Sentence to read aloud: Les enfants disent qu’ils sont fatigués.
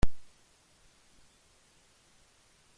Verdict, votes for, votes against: rejected, 0, 2